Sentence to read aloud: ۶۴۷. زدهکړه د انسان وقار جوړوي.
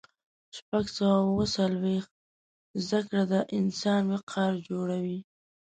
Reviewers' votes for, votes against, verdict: 0, 2, rejected